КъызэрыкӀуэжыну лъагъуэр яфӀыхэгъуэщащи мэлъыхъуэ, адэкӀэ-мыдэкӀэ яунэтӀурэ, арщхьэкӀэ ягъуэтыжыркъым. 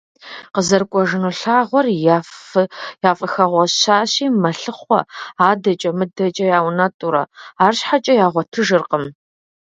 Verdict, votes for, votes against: rejected, 1, 2